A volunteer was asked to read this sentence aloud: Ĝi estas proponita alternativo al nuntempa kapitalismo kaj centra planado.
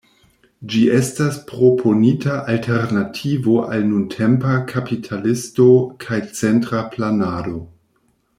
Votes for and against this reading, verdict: 0, 2, rejected